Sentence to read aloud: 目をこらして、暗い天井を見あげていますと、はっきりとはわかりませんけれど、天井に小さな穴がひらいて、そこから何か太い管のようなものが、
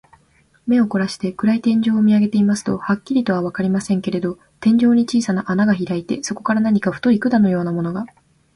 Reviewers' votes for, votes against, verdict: 2, 0, accepted